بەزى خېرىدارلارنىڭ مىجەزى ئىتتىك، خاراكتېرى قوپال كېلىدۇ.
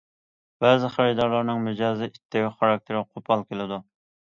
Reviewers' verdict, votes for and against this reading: accepted, 2, 0